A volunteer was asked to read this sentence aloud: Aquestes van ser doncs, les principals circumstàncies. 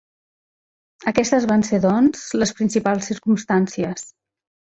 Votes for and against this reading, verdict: 4, 1, accepted